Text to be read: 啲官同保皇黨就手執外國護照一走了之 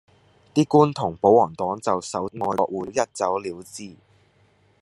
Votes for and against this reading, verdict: 0, 2, rejected